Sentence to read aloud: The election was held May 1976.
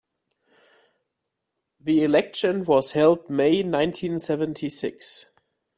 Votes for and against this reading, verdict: 0, 2, rejected